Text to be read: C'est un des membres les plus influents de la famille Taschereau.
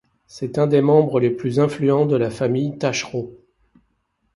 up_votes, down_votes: 2, 0